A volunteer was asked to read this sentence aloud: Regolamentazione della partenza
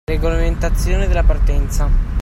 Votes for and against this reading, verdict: 2, 1, accepted